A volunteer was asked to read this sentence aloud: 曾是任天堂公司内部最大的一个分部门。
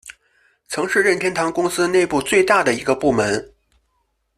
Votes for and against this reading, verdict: 0, 2, rejected